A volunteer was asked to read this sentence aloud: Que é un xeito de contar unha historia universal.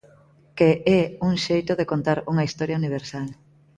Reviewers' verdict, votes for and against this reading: accepted, 2, 0